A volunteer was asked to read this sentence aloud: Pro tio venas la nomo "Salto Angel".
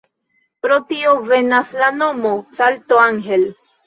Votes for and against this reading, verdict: 0, 2, rejected